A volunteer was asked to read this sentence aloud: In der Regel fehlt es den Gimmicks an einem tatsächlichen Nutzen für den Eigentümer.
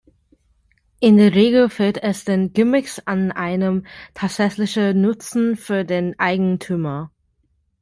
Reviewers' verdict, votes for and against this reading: accepted, 2, 1